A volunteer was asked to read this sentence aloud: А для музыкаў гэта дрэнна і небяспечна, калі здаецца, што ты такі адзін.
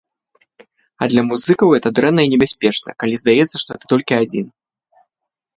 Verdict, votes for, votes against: rejected, 0, 2